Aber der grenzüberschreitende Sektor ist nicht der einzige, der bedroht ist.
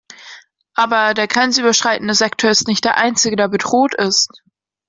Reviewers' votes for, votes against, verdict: 2, 0, accepted